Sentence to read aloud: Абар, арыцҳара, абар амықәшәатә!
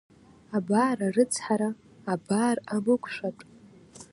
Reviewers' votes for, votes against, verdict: 2, 1, accepted